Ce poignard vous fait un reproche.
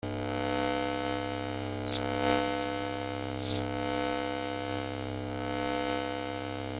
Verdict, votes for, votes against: rejected, 0, 2